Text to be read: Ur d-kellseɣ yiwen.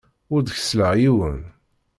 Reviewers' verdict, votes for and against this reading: rejected, 1, 2